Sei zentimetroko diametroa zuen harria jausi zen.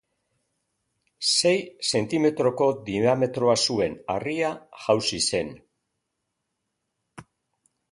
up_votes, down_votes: 1, 2